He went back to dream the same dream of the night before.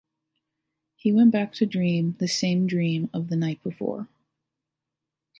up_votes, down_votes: 2, 0